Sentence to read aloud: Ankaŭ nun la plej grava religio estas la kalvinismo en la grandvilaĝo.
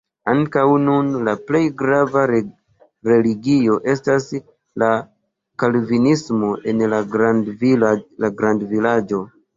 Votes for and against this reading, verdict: 1, 2, rejected